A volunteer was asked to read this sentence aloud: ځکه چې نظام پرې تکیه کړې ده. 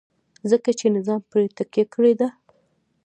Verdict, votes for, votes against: rejected, 0, 2